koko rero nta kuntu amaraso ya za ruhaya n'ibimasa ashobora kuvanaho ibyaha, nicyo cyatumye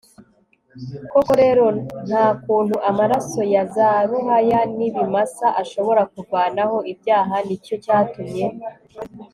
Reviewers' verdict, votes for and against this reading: accepted, 3, 0